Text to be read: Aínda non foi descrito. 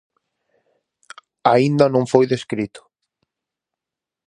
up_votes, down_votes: 4, 0